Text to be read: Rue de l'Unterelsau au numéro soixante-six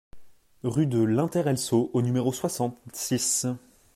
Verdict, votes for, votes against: rejected, 1, 2